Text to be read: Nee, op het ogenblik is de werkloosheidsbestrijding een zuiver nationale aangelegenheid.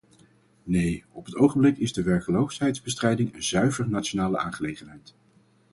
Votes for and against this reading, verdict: 2, 2, rejected